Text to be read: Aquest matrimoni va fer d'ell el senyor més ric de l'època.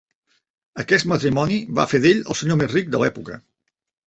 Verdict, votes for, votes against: accepted, 3, 1